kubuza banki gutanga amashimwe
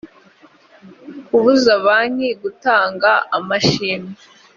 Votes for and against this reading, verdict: 2, 1, accepted